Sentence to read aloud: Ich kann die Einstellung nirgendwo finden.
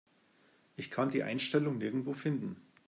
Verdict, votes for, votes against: accepted, 2, 0